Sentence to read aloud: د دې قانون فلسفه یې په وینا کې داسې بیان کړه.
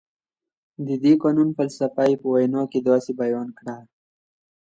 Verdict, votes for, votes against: accepted, 2, 1